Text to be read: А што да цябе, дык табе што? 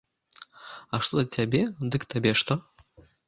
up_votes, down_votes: 1, 2